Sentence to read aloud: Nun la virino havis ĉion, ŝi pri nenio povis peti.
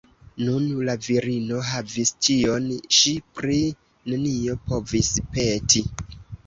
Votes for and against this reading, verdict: 2, 3, rejected